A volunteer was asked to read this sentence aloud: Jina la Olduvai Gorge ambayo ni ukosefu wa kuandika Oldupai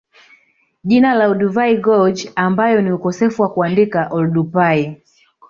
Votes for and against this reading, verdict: 3, 0, accepted